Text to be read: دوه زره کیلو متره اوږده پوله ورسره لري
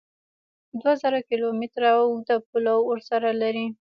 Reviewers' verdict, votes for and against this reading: accepted, 2, 1